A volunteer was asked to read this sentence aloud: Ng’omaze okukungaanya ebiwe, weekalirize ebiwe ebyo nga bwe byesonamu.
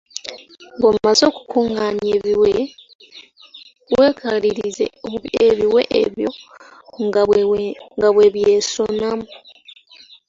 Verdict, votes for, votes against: rejected, 0, 2